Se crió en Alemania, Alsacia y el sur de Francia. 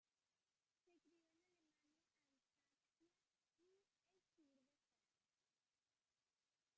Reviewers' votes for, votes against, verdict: 0, 2, rejected